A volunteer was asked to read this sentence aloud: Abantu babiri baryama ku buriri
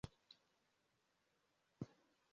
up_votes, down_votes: 0, 2